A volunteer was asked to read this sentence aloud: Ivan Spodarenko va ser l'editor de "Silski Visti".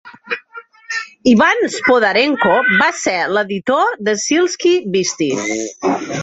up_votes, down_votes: 1, 2